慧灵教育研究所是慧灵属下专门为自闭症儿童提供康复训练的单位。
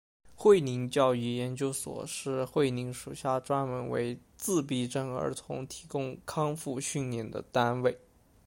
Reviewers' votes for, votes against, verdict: 2, 0, accepted